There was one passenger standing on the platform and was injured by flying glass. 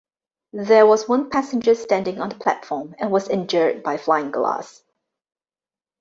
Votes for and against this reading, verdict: 2, 0, accepted